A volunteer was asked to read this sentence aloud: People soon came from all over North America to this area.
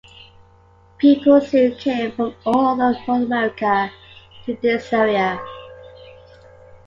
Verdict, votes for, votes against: accepted, 2, 1